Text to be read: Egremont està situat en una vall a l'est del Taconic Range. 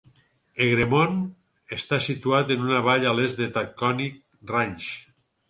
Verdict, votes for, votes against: rejected, 2, 4